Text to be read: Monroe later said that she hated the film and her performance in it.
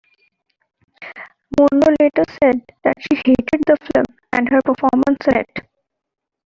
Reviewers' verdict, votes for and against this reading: rejected, 0, 2